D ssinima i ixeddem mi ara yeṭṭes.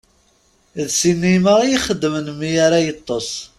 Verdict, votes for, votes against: rejected, 1, 2